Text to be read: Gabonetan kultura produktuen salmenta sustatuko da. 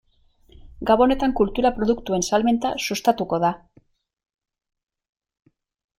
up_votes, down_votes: 2, 0